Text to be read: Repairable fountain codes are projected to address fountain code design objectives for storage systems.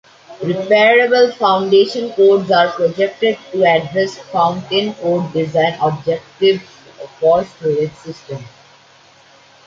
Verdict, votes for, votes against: rejected, 0, 2